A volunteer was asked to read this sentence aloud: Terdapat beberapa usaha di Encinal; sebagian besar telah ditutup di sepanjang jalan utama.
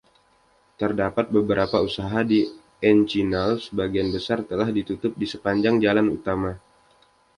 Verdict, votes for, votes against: accepted, 2, 0